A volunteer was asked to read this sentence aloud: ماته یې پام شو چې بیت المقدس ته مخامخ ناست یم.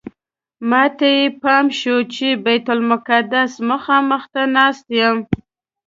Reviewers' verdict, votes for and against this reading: accepted, 2, 0